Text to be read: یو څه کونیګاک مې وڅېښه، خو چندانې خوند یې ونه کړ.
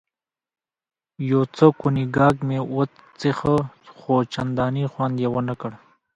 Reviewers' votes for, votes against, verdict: 2, 1, accepted